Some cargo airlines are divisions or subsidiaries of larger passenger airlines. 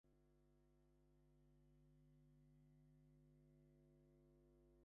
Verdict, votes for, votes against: rejected, 0, 2